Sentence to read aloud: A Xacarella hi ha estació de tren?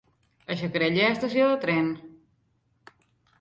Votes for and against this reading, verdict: 0, 2, rejected